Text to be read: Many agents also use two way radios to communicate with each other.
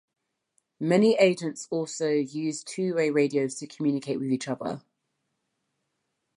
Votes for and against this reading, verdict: 2, 0, accepted